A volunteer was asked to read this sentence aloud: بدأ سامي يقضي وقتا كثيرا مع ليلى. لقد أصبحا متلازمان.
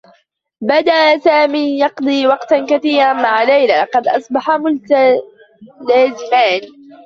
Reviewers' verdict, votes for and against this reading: rejected, 0, 2